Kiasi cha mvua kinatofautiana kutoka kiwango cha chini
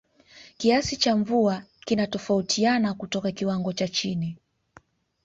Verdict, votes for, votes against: accepted, 2, 1